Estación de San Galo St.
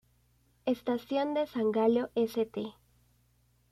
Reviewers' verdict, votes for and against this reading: rejected, 0, 2